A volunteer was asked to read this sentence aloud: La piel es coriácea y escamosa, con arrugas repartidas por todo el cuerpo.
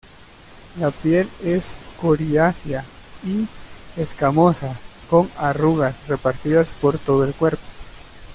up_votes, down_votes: 2, 1